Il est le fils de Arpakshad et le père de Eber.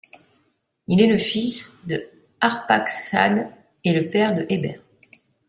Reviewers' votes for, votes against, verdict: 2, 0, accepted